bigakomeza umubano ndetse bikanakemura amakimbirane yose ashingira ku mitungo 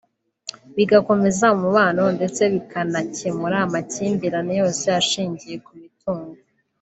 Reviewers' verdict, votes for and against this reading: rejected, 1, 2